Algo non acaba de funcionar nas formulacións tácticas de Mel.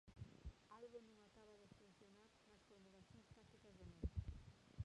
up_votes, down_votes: 0, 2